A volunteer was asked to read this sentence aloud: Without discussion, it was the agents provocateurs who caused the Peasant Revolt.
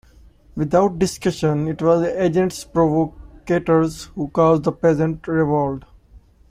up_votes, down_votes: 1, 2